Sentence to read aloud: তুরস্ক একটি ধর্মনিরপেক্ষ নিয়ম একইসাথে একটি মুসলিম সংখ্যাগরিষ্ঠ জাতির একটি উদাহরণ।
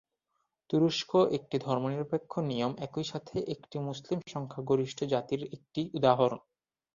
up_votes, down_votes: 2, 0